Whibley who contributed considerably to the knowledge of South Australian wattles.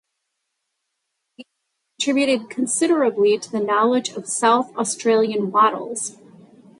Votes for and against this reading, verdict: 0, 2, rejected